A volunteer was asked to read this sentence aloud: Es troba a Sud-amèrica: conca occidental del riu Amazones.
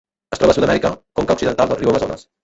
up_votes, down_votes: 1, 2